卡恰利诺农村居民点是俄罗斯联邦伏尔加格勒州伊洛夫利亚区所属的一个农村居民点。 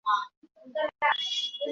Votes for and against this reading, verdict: 1, 3, rejected